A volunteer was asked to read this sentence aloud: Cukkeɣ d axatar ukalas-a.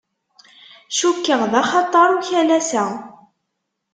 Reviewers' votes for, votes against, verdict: 2, 0, accepted